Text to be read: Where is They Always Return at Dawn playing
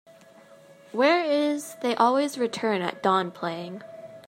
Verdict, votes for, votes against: accepted, 2, 0